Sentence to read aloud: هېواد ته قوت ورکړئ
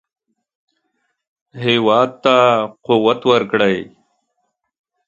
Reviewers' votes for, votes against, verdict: 4, 0, accepted